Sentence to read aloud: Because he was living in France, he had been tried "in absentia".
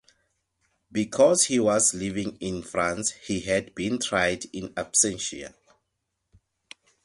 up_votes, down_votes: 2, 0